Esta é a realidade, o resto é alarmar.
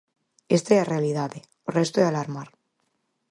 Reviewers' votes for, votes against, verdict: 4, 0, accepted